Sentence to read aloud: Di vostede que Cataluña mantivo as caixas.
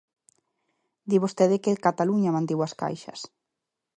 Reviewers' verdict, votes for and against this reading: accepted, 2, 0